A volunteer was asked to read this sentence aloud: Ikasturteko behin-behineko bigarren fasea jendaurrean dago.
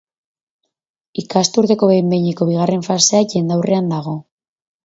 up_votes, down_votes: 4, 0